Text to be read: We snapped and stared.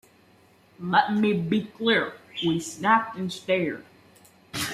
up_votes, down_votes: 0, 2